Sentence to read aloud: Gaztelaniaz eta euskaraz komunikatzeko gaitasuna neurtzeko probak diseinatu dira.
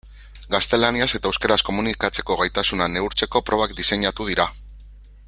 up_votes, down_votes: 1, 2